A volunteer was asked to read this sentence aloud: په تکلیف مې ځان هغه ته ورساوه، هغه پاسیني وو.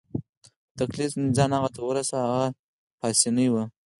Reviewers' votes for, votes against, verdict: 4, 0, accepted